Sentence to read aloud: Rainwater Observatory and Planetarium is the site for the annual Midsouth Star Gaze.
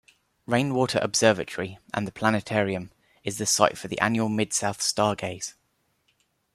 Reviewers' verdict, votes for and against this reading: rejected, 1, 2